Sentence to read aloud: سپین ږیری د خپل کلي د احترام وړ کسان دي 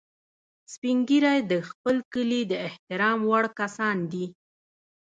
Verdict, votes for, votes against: rejected, 0, 2